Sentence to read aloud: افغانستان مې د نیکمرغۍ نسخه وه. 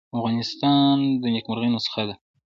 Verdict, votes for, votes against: accepted, 2, 0